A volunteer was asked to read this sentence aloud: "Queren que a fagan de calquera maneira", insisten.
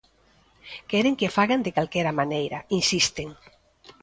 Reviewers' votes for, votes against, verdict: 0, 2, rejected